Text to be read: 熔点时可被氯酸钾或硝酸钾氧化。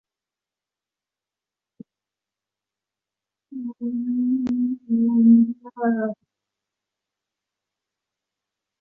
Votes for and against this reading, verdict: 2, 3, rejected